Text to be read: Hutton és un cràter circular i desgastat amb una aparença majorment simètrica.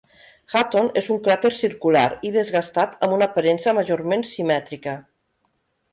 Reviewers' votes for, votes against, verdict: 2, 0, accepted